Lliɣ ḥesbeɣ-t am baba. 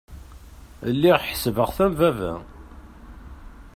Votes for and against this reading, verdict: 2, 0, accepted